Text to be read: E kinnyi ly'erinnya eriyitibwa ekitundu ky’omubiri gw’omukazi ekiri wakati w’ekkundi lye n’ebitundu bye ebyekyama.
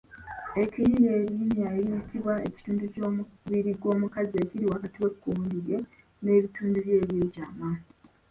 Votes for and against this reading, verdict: 1, 2, rejected